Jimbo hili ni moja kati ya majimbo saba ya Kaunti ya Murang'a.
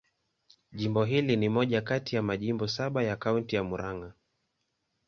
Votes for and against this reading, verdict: 2, 0, accepted